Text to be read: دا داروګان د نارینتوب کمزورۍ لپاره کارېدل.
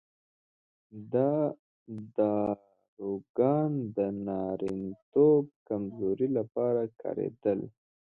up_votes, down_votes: 2, 0